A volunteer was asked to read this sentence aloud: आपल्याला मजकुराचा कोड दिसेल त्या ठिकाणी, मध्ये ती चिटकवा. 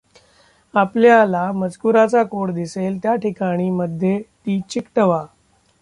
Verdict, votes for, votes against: rejected, 0, 2